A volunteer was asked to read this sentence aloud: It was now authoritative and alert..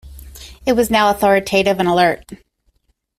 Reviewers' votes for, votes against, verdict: 2, 0, accepted